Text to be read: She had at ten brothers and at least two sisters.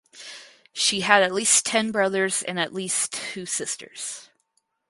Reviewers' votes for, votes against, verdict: 0, 4, rejected